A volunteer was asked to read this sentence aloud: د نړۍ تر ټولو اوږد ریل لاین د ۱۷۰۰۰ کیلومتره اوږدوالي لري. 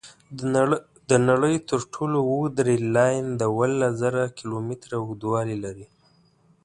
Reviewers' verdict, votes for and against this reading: rejected, 0, 2